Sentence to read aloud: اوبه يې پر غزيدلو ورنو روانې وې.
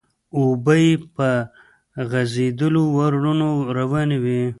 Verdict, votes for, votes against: rejected, 0, 2